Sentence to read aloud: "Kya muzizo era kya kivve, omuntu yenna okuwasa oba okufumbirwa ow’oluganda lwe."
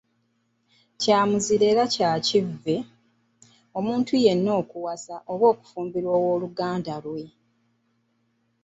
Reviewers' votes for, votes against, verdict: 1, 2, rejected